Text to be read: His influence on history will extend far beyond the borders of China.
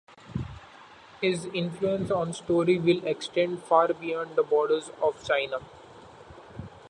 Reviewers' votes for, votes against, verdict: 0, 2, rejected